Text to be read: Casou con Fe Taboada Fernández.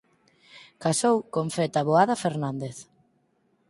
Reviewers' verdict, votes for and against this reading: accepted, 4, 0